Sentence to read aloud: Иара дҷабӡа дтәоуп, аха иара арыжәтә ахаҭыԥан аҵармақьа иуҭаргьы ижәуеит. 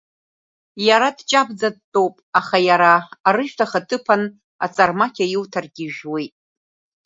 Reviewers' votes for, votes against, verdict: 1, 2, rejected